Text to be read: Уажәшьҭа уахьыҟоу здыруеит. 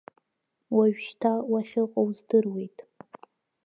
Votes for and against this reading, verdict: 2, 0, accepted